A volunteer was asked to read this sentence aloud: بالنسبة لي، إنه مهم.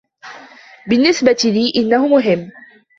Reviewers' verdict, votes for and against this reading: accepted, 2, 1